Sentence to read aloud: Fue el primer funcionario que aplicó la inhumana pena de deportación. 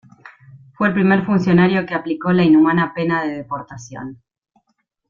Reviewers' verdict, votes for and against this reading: accepted, 2, 0